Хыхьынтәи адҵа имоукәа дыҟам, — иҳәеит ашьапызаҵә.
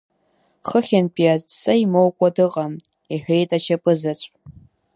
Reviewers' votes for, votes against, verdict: 2, 0, accepted